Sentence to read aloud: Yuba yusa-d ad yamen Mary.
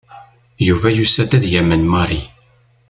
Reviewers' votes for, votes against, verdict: 2, 0, accepted